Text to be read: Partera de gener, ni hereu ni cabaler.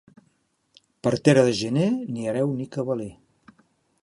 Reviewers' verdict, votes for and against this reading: accepted, 2, 0